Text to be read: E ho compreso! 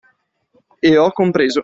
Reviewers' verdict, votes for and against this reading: accepted, 2, 0